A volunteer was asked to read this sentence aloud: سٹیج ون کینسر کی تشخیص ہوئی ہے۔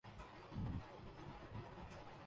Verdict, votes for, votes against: rejected, 1, 2